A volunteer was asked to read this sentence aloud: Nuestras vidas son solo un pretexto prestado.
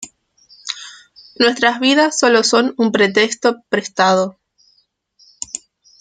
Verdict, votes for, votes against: accepted, 2, 0